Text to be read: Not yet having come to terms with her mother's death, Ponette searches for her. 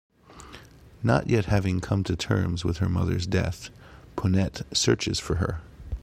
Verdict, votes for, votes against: accepted, 2, 1